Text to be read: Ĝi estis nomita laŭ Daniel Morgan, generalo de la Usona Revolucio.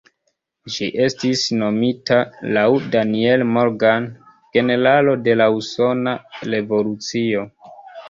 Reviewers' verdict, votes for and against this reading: rejected, 0, 2